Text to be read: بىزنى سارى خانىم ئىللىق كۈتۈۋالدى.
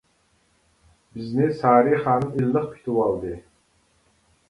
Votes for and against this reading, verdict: 2, 0, accepted